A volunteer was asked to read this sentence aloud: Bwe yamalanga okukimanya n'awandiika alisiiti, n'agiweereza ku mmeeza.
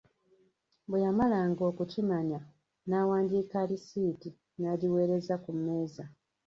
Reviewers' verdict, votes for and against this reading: rejected, 1, 2